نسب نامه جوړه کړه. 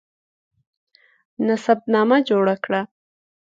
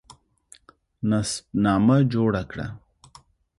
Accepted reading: first